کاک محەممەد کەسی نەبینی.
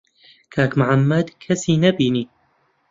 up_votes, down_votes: 0, 2